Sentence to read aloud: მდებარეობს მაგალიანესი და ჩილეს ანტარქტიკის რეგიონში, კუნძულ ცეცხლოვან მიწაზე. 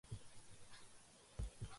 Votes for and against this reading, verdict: 1, 2, rejected